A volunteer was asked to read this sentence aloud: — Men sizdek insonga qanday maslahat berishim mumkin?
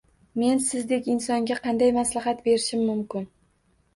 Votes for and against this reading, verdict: 2, 0, accepted